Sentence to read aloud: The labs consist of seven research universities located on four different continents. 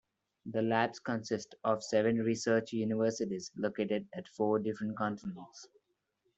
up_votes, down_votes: 1, 2